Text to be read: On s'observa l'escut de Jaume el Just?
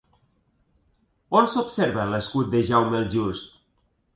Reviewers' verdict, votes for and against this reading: accepted, 3, 1